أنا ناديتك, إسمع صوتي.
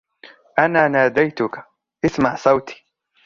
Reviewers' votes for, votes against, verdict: 3, 0, accepted